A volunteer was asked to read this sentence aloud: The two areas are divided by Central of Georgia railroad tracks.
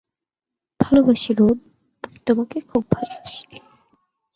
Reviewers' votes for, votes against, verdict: 0, 2, rejected